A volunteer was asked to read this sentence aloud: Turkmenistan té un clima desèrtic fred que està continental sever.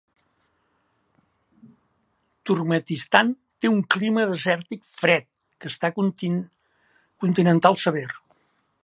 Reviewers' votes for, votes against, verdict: 0, 2, rejected